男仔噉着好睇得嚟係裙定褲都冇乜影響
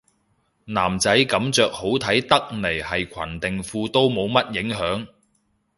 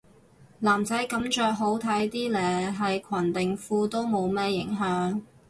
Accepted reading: first